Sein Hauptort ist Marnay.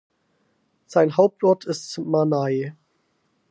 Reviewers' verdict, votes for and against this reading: rejected, 2, 4